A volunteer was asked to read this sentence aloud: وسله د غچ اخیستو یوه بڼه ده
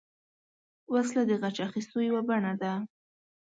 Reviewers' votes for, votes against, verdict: 2, 0, accepted